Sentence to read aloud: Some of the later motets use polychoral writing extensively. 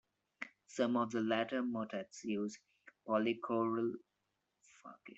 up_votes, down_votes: 1, 2